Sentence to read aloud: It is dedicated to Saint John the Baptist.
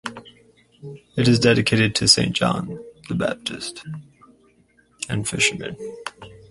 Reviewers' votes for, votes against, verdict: 0, 4, rejected